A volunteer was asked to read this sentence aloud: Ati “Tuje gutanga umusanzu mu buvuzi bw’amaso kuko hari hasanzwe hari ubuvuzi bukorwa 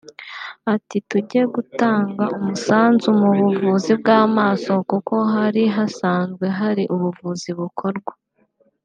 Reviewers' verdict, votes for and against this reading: rejected, 1, 2